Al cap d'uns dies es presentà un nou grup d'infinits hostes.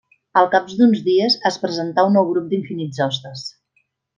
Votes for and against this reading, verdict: 1, 2, rejected